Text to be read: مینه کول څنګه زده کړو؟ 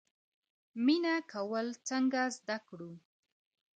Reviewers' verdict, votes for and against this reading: accepted, 2, 0